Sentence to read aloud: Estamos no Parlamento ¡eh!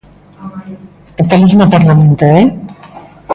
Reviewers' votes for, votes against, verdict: 2, 0, accepted